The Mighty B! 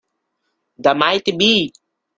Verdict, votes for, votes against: rejected, 0, 2